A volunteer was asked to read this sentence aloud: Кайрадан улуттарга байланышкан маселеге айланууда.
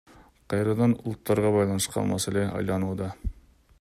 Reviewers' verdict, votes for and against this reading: rejected, 1, 2